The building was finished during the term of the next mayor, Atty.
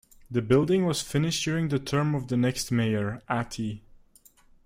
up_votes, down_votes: 2, 0